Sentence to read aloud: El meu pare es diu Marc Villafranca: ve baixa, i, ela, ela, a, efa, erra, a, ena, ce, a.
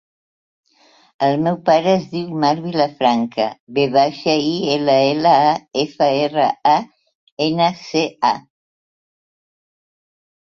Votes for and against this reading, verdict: 1, 2, rejected